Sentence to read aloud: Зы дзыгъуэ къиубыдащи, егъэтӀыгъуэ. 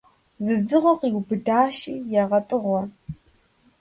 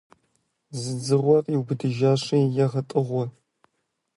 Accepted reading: first